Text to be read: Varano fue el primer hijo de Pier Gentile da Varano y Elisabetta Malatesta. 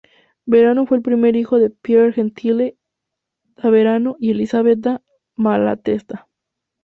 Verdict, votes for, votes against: rejected, 0, 2